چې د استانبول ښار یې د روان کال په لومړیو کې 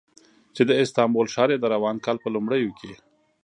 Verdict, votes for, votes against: accepted, 2, 0